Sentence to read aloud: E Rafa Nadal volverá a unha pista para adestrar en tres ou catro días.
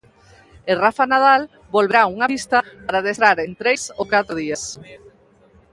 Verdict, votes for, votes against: rejected, 1, 2